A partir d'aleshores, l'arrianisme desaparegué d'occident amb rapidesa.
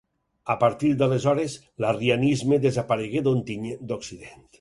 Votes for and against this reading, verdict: 0, 4, rejected